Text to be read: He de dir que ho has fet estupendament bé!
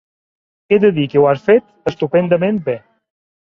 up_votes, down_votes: 3, 1